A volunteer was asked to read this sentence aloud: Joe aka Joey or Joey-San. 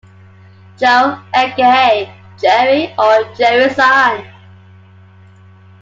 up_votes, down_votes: 2, 0